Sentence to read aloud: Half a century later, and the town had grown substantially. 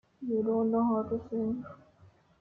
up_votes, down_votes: 0, 2